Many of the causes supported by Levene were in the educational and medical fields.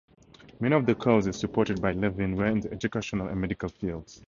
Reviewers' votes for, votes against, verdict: 0, 2, rejected